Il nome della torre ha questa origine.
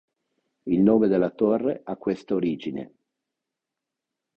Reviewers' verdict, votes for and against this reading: accepted, 2, 0